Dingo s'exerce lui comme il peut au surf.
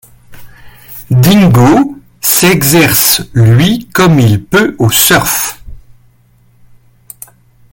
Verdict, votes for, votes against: rejected, 1, 2